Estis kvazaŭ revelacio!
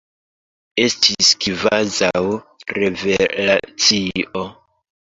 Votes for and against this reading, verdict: 2, 1, accepted